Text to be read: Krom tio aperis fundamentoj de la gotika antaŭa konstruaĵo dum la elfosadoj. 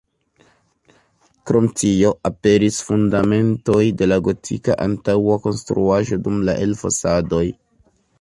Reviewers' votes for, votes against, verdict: 2, 1, accepted